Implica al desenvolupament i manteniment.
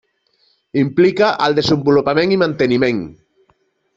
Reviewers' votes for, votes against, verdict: 2, 0, accepted